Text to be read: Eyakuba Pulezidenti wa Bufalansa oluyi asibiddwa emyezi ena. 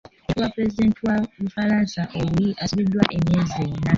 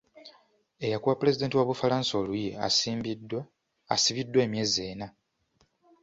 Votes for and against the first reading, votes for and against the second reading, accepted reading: 2, 1, 0, 2, first